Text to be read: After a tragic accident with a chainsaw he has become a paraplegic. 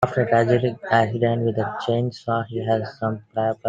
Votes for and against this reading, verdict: 0, 2, rejected